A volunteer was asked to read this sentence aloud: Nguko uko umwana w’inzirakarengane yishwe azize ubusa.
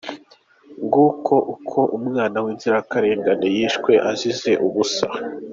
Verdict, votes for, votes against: accepted, 2, 0